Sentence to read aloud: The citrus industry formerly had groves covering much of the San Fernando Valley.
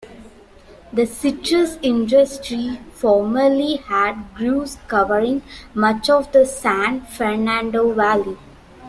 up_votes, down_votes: 0, 2